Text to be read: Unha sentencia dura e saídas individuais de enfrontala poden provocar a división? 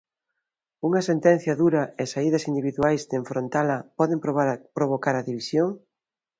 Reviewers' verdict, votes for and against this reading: rejected, 0, 2